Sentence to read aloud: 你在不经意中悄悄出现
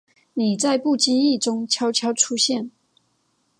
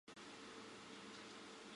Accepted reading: first